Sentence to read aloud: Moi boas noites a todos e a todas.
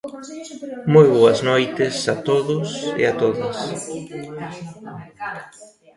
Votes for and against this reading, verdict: 0, 2, rejected